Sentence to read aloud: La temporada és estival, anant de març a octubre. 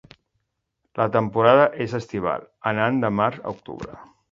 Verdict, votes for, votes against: accepted, 2, 0